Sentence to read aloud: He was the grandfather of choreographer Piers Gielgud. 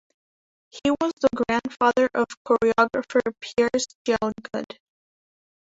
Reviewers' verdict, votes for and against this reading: rejected, 3, 4